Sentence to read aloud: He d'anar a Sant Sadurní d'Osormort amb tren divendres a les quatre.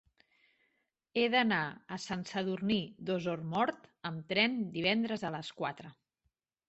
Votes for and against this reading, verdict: 2, 0, accepted